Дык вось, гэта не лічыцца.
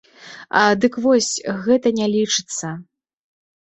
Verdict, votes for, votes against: rejected, 1, 2